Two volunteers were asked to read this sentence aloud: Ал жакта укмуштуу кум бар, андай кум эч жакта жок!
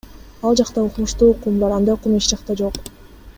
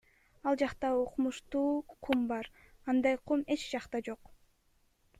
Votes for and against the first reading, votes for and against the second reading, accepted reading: 2, 1, 1, 2, first